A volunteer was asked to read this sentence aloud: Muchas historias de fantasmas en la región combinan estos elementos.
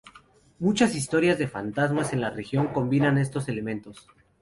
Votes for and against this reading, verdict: 2, 0, accepted